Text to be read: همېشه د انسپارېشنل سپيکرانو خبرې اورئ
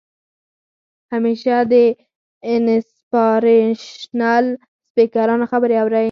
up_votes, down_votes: 4, 0